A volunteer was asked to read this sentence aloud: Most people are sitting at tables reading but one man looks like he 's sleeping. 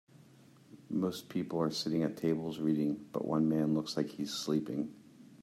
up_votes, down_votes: 2, 0